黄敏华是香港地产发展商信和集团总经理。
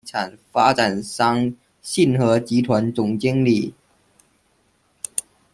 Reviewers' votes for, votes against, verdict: 0, 2, rejected